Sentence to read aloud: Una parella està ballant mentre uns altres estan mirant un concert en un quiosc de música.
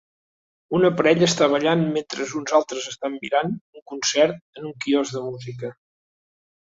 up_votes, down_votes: 3, 0